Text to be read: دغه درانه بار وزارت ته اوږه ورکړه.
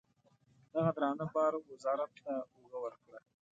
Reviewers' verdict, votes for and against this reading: accepted, 2, 0